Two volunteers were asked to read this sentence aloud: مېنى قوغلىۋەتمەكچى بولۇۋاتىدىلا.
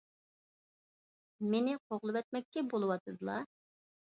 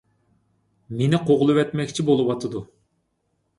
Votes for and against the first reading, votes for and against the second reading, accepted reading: 2, 0, 0, 2, first